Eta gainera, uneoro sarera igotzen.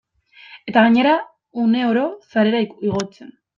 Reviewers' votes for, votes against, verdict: 0, 2, rejected